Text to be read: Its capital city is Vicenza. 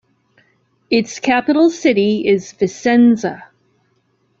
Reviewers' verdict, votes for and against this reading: accepted, 2, 0